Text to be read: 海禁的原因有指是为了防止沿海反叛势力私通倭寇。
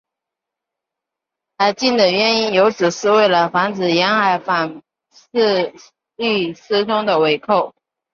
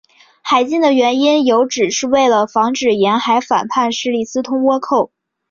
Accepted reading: second